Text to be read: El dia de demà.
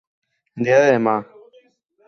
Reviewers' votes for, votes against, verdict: 2, 4, rejected